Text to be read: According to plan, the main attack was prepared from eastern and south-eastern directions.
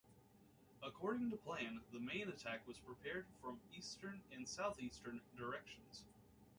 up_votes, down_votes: 1, 2